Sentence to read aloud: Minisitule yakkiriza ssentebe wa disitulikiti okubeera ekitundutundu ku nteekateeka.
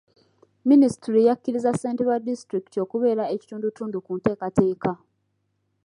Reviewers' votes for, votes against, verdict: 1, 2, rejected